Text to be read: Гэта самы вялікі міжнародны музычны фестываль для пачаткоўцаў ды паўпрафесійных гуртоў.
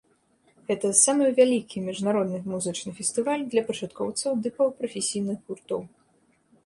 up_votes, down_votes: 2, 0